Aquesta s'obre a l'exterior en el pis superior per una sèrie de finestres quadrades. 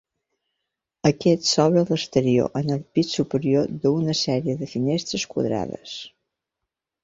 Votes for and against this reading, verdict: 0, 2, rejected